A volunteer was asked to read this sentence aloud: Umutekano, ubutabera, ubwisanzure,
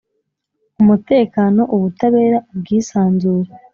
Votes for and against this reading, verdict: 3, 0, accepted